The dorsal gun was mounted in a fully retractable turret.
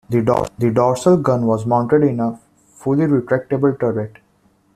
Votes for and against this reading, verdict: 2, 1, accepted